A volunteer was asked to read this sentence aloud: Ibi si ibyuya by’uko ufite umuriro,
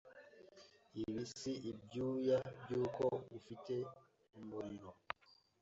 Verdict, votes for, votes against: accepted, 2, 0